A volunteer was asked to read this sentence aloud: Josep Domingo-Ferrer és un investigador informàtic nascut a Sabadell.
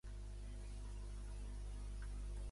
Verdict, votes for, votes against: rejected, 0, 2